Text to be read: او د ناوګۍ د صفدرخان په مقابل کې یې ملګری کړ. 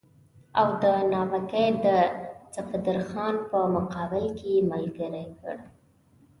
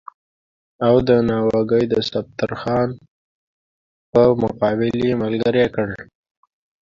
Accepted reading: first